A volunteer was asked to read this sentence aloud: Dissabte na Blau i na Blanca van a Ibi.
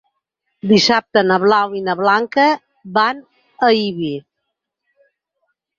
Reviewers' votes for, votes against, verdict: 4, 0, accepted